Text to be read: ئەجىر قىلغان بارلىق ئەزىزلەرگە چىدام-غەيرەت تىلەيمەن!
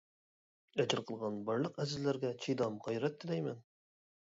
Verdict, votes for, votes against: rejected, 1, 2